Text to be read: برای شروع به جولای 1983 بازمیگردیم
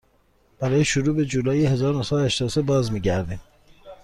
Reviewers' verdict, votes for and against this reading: rejected, 0, 2